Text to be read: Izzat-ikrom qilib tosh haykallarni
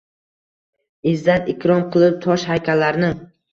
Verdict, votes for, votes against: rejected, 1, 2